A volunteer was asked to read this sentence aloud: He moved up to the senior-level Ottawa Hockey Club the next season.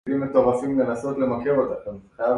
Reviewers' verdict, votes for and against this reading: rejected, 1, 2